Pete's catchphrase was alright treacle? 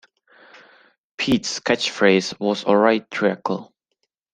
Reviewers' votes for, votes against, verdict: 0, 2, rejected